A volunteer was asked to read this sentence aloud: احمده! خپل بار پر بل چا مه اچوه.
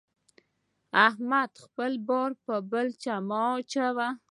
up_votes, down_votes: 2, 0